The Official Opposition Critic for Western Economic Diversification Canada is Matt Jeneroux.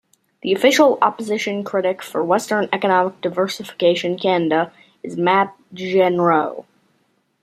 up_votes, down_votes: 2, 1